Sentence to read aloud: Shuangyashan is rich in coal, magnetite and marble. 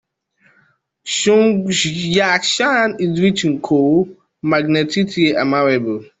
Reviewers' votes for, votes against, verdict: 1, 2, rejected